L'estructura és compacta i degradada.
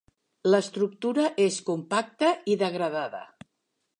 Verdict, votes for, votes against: accepted, 2, 0